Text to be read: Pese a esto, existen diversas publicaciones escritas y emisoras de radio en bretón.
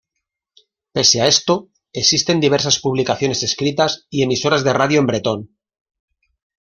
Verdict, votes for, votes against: accepted, 6, 0